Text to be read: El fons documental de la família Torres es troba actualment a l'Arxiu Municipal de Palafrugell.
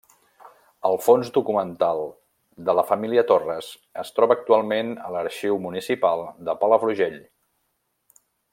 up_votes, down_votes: 3, 0